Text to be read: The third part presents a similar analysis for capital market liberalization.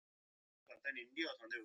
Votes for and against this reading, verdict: 0, 2, rejected